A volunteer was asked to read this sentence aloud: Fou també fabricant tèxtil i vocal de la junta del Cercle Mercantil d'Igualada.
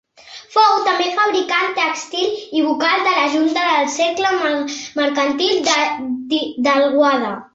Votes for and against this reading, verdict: 0, 2, rejected